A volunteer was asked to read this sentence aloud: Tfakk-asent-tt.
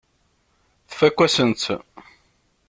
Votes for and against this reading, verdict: 1, 2, rejected